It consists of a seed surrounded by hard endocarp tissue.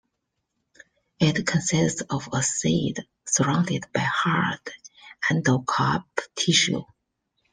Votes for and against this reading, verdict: 2, 0, accepted